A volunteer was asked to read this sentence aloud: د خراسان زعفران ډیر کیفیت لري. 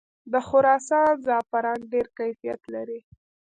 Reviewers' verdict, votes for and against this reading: accepted, 2, 0